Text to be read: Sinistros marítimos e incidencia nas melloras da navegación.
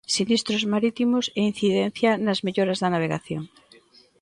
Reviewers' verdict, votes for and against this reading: accepted, 2, 0